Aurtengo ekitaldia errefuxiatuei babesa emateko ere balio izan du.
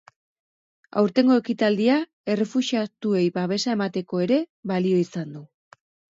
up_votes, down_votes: 4, 0